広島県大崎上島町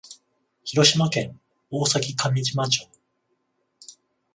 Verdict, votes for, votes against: accepted, 14, 0